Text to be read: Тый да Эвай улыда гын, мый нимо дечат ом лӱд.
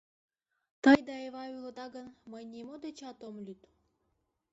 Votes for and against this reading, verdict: 1, 2, rejected